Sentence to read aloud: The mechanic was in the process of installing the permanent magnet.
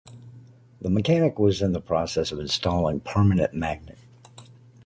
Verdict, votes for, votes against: rejected, 0, 2